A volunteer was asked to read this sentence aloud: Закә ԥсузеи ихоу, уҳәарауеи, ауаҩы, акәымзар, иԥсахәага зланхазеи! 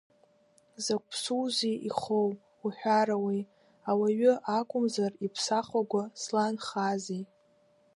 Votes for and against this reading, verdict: 2, 0, accepted